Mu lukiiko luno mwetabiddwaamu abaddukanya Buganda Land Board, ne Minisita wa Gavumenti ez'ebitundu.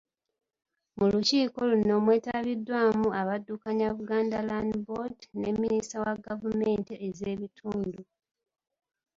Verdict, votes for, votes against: accepted, 2, 0